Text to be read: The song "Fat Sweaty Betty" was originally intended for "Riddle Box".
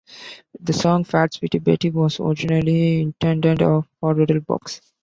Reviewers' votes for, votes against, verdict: 0, 2, rejected